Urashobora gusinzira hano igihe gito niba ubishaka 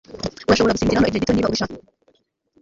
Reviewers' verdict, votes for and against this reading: rejected, 1, 2